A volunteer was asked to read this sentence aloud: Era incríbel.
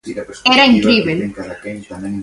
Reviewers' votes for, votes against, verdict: 1, 2, rejected